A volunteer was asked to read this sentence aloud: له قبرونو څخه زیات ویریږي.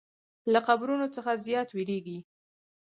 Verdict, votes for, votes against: rejected, 0, 4